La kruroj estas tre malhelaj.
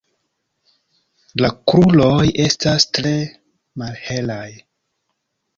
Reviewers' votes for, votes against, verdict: 2, 0, accepted